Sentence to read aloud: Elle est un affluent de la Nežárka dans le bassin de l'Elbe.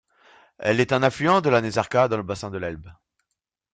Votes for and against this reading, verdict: 1, 2, rejected